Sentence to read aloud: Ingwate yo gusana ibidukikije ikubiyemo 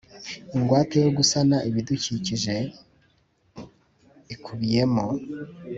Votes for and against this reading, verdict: 3, 0, accepted